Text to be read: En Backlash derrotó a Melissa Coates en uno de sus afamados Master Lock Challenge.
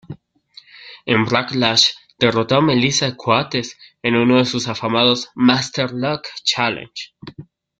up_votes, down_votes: 0, 2